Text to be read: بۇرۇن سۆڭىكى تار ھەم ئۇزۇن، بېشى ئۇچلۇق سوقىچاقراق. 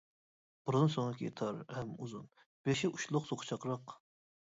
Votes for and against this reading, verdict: 0, 2, rejected